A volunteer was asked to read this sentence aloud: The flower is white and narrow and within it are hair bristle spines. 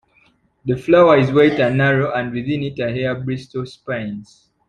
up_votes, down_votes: 2, 1